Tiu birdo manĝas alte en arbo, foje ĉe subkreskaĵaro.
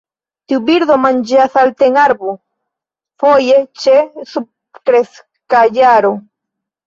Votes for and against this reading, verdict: 0, 2, rejected